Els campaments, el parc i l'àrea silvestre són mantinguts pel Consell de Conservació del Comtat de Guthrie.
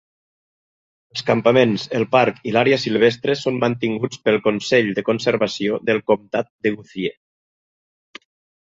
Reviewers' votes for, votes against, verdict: 2, 0, accepted